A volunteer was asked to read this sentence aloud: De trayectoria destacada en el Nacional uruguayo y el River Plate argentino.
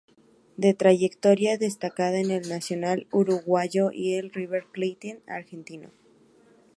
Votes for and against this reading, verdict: 0, 4, rejected